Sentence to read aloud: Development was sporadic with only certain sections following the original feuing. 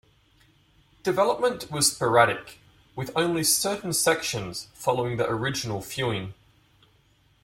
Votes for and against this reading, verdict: 2, 0, accepted